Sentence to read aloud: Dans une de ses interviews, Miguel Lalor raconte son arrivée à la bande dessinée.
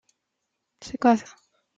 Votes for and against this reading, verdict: 0, 2, rejected